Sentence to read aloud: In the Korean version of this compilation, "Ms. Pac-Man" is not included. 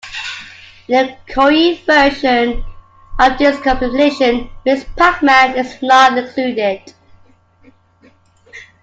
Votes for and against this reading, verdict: 2, 1, accepted